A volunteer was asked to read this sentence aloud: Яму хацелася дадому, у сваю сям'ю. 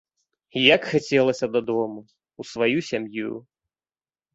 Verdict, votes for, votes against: rejected, 0, 2